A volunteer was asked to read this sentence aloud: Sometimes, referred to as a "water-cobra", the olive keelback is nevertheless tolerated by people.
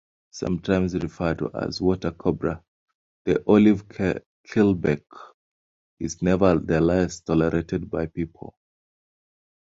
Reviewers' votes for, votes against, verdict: 3, 1, accepted